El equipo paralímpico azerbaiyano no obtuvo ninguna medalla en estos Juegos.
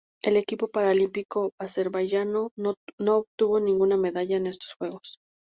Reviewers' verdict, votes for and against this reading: accepted, 2, 0